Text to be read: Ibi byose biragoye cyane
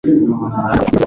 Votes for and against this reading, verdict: 0, 2, rejected